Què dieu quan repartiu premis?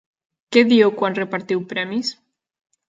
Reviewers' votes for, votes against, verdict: 2, 0, accepted